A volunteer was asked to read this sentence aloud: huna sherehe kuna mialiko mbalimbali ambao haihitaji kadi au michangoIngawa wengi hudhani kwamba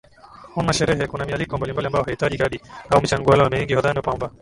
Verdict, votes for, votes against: accepted, 10, 4